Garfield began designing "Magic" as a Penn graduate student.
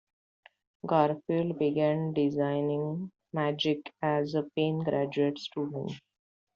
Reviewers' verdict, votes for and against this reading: accepted, 2, 1